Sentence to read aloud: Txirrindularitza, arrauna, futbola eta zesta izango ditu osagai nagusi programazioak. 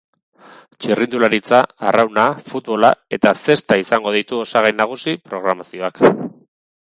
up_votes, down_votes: 4, 0